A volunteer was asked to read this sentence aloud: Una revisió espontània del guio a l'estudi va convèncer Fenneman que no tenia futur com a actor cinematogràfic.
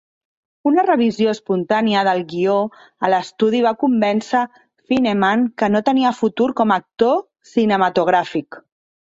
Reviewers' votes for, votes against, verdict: 2, 0, accepted